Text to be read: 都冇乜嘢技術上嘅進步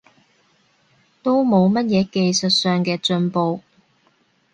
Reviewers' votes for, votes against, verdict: 2, 0, accepted